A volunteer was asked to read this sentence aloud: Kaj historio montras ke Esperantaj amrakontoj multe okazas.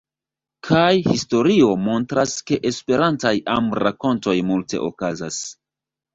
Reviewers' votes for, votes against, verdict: 2, 0, accepted